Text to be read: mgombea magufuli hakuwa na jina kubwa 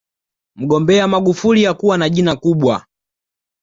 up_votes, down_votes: 2, 0